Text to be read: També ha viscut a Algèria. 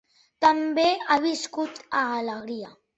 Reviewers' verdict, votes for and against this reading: rejected, 0, 3